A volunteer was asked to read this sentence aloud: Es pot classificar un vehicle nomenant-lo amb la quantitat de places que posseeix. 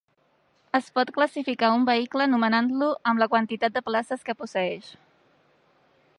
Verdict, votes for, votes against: accepted, 3, 0